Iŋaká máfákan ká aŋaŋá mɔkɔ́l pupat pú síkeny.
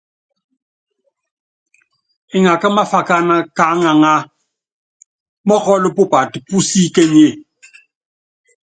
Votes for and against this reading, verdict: 2, 0, accepted